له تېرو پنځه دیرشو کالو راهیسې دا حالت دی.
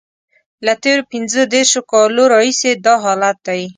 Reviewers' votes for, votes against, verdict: 2, 0, accepted